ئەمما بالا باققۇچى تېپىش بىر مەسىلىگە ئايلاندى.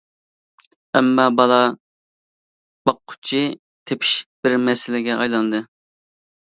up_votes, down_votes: 3, 0